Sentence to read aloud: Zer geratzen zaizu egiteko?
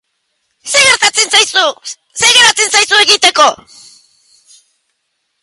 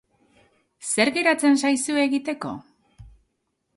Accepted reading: second